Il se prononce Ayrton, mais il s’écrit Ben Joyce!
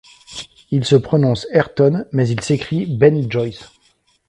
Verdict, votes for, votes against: accepted, 2, 0